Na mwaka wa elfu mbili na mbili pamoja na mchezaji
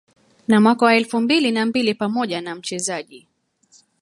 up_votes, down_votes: 0, 2